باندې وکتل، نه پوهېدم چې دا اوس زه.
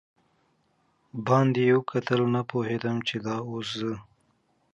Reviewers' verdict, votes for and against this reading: accepted, 2, 0